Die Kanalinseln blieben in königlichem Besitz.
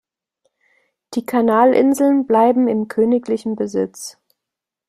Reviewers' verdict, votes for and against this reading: rejected, 0, 2